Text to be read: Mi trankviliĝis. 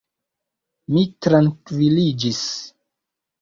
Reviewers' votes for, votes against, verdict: 2, 1, accepted